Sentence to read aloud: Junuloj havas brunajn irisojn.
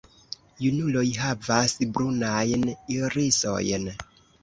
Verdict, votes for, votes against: rejected, 1, 2